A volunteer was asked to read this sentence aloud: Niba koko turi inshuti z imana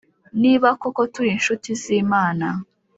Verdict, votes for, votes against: accepted, 3, 0